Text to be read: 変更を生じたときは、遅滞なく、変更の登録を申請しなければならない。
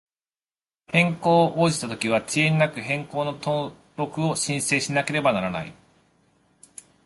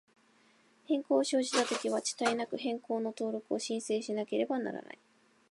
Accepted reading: second